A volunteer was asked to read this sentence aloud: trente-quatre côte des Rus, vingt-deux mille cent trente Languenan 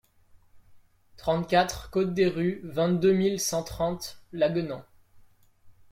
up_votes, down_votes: 1, 2